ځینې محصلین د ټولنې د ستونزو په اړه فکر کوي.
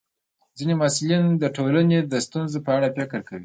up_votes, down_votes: 1, 2